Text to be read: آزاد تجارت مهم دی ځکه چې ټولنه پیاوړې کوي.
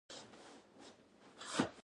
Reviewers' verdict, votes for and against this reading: rejected, 0, 2